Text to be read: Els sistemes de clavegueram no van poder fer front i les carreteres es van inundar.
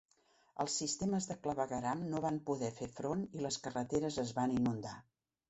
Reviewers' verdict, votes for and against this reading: accepted, 3, 0